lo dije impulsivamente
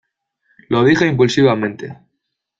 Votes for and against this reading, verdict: 2, 0, accepted